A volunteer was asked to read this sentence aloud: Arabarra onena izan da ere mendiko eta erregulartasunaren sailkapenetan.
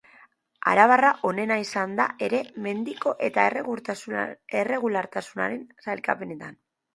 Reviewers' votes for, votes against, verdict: 0, 2, rejected